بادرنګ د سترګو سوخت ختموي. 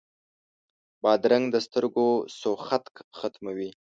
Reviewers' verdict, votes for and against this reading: rejected, 1, 3